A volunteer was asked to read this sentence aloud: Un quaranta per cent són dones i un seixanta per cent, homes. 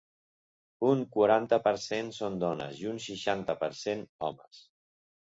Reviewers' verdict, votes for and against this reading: accepted, 2, 0